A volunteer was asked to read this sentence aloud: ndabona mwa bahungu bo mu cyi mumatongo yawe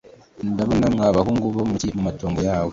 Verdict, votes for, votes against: rejected, 0, 2